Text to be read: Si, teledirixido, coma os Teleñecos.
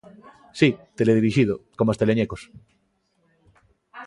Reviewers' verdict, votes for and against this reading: accepted, 2, 0